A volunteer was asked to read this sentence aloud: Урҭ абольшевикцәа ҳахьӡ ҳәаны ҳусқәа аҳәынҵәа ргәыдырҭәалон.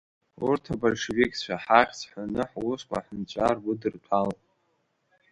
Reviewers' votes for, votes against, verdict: 2, 0, accepted